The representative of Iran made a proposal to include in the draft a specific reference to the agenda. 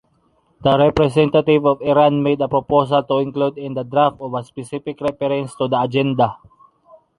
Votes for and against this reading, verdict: 0, 2, rejected